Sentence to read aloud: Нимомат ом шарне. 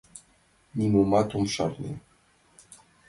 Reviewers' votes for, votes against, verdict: 2, 0, accepted